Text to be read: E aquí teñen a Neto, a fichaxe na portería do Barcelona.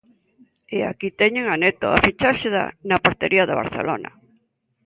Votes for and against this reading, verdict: 0, 2, rejected